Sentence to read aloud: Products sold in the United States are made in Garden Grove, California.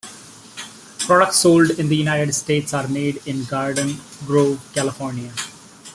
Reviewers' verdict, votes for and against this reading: accepted, 2, 0